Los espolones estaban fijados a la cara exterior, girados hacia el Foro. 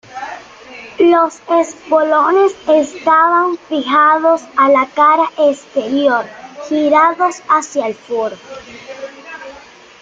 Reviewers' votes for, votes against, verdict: 2, 0, accepted